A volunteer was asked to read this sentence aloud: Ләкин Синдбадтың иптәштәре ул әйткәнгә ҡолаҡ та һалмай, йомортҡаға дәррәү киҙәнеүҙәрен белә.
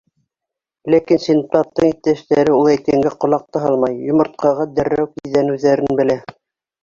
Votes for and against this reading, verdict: 0, 2, rejected